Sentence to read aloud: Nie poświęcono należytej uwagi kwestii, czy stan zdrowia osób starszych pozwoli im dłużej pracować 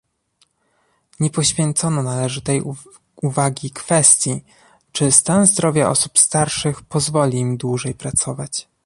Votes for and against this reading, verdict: 0, 2, rejected